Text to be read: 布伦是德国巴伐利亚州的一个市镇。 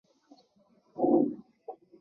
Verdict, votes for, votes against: rejected, 0, 2